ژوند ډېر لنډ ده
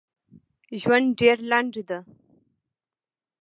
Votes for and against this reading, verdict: 0, 2, rejected